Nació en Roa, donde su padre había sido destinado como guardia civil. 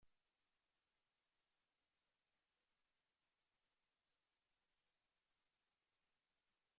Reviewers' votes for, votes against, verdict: 0, 2, rejected